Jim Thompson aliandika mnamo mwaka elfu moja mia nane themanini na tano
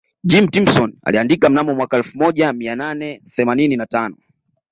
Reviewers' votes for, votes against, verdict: 2, 0, accepted